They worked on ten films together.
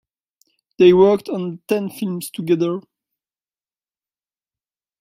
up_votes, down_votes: 2, 0